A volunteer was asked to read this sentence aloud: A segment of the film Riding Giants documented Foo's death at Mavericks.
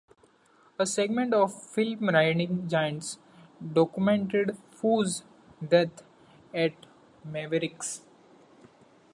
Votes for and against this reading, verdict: 0, 2, rejected